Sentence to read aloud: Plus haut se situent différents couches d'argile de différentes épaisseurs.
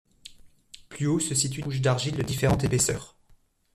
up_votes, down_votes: 0, 2